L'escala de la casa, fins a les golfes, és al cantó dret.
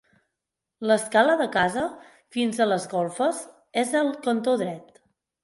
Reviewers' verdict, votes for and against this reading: rejected, 2, 4